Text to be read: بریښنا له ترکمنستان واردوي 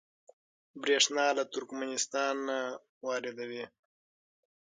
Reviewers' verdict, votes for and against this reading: rejected, 3, 6